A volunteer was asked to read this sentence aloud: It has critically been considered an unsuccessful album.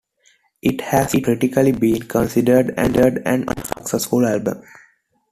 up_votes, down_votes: 0, 2